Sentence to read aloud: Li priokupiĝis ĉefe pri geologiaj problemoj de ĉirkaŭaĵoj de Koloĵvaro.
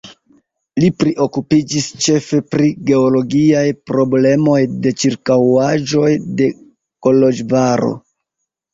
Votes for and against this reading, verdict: 0, 2, rejected